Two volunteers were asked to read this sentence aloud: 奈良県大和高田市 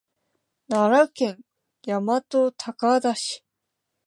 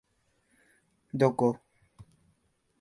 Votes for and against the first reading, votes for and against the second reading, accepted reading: 3, 0, 0, 2, first